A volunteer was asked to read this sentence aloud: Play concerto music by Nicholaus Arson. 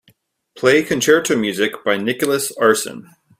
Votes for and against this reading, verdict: 3, 1, accepted